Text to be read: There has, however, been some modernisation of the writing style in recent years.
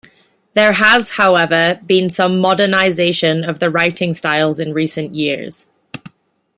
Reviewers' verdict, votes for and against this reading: rejected, 0, 2